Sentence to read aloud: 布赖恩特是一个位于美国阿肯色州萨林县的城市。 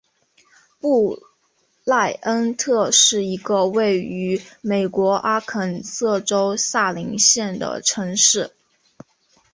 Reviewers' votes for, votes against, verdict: 2, 0, accepted